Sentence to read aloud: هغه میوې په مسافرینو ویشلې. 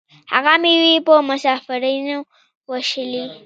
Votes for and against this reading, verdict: 2, 0, accepted